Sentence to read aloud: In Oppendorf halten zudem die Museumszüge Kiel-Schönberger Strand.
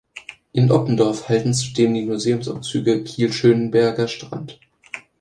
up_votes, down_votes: 0, 2